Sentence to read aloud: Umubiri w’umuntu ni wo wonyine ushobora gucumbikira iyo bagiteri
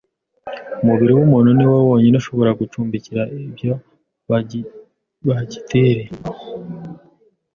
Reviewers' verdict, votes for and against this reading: rejected, 0, 2